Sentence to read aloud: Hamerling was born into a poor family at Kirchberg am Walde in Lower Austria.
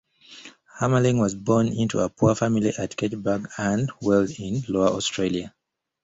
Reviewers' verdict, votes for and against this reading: rejected, 0, 2